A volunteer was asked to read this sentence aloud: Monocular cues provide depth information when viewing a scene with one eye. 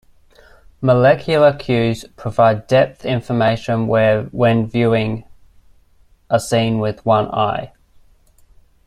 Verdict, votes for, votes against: rejected, 0, 2